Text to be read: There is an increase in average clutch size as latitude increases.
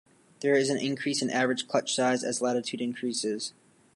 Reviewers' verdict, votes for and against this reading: accepted, 2, 0